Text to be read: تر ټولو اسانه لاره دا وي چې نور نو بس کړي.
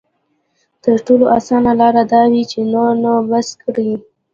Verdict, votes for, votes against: accepted, 2, 0